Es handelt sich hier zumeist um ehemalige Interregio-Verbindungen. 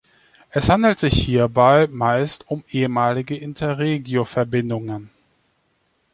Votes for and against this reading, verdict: 0, 3, rejected